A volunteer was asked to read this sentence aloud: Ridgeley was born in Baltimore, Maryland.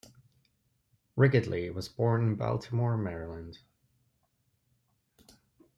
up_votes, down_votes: 0, 2